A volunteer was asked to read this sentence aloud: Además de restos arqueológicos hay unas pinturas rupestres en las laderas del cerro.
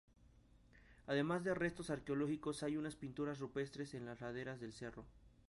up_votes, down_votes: 2, 2